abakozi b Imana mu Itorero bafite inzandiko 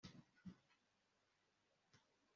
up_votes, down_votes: 1, 2